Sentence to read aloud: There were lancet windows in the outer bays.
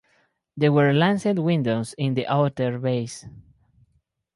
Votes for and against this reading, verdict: 4, 0, accepted